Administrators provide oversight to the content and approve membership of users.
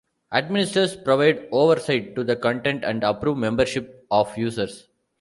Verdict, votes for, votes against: rejected, 1, 2